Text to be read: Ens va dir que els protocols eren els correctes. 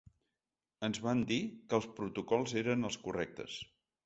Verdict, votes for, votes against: rejected, 1, 2